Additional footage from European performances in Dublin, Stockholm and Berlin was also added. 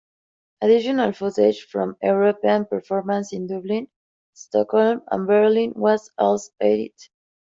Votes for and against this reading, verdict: 0, 2, rejected